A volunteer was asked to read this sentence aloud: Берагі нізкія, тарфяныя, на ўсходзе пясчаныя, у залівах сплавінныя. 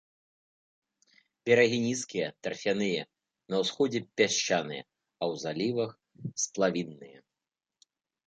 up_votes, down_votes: 1, 2